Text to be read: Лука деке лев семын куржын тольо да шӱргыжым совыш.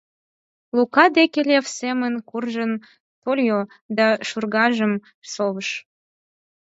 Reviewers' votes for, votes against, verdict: 2, 6, rejected